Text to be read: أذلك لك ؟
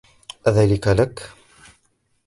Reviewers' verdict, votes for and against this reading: accepted, 2, 0